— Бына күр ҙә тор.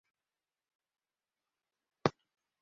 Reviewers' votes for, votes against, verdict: 0, 2, rejected